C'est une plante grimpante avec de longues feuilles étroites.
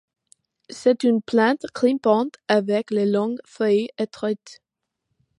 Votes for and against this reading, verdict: 2, 0, accepted